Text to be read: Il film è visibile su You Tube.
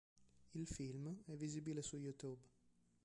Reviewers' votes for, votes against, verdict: 1, 2, rejected